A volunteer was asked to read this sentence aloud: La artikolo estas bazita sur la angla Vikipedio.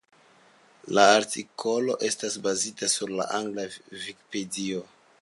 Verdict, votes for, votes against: accepted, 2, 0